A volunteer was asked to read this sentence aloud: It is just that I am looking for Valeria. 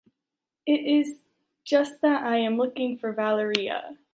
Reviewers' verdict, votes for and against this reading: rejected, 0, 2